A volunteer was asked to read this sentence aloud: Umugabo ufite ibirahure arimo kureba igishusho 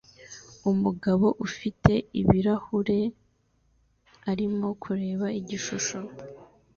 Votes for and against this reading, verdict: 2, 1, accepted